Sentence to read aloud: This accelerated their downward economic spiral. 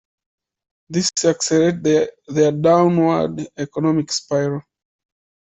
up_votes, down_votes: 0, 2